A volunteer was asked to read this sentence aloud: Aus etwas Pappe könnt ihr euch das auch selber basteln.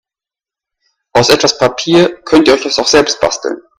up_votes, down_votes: 0, 2